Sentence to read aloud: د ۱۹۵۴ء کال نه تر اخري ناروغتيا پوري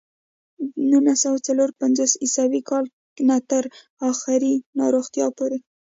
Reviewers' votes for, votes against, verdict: 0, 2, rejected